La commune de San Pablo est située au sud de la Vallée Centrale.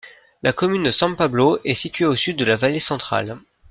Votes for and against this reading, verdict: 2, 0, accepted